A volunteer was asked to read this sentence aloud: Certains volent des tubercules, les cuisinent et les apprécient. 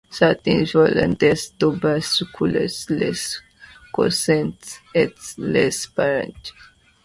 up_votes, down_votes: 0, 2